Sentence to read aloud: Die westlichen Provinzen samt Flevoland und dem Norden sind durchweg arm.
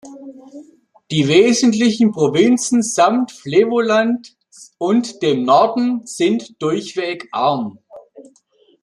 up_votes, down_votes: 0, 2